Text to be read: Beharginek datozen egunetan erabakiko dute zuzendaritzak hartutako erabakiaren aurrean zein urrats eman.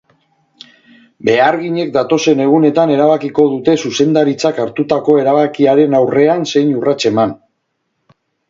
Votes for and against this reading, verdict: 2, 0, accepted